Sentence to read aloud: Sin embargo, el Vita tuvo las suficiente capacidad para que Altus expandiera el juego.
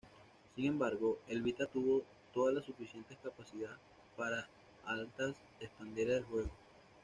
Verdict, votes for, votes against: rejected, 1, 2